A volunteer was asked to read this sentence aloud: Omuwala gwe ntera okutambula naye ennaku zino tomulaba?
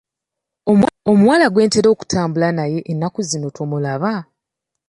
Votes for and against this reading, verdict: 2, 0, accepted